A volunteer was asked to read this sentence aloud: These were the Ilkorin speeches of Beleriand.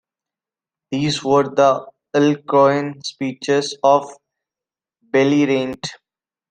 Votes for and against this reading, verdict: 0, 2, rejected